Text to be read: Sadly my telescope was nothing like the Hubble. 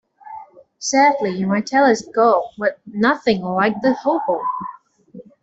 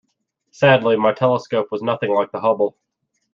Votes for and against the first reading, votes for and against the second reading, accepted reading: 2, 3, 2, 0, second